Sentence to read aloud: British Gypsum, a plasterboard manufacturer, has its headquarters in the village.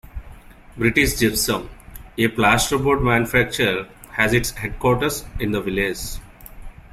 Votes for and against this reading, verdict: 2, 0, accepted